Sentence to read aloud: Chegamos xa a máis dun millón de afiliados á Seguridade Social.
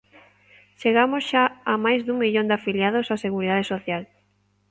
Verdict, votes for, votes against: accepted, 2, 0